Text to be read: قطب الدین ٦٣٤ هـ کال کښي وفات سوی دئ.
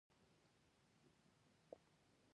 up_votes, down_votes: 0, 2